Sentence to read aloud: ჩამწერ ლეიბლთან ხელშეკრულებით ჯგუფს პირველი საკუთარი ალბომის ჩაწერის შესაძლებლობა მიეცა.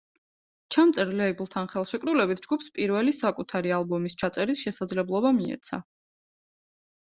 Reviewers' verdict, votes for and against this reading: accepted, 2, 0